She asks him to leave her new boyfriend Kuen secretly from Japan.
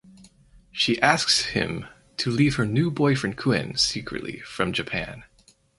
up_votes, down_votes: 4, 0